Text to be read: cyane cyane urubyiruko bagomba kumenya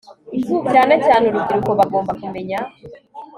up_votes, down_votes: 2, 1